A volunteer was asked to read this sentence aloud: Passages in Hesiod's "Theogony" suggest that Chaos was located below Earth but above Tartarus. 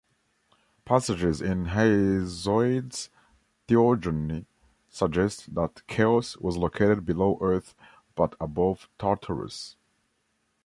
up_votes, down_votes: 1, 2